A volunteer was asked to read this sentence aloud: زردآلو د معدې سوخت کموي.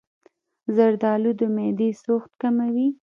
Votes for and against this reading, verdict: 0, 2, rejected